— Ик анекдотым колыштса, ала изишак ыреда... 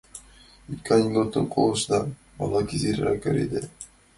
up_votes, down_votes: 0, 2